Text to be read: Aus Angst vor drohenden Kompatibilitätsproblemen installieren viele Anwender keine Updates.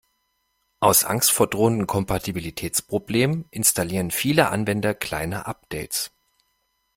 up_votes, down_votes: 0, 2